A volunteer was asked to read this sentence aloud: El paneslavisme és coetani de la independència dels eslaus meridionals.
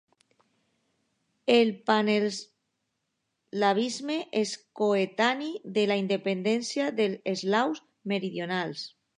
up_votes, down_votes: 0, 3